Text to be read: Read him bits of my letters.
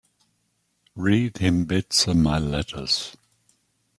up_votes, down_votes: 2, 0